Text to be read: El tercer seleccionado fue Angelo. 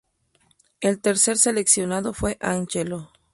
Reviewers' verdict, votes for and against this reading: rejected, 0, 2